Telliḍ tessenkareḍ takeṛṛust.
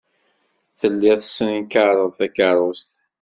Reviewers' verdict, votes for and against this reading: accepted, 2, 0